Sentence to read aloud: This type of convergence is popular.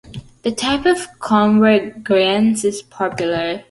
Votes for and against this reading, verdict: 0, 2, rejected